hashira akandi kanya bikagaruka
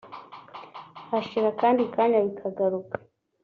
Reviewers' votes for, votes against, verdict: 2, 0, accepted